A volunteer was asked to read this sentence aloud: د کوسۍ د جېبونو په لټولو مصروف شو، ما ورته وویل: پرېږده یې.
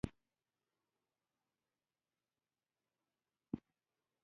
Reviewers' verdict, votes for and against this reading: rejected, 0, 2